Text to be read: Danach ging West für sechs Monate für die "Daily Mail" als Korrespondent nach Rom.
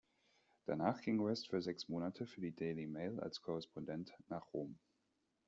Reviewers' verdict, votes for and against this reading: accepted, 2, 0